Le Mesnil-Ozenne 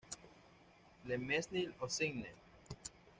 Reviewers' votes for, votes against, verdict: 1, 2, rejected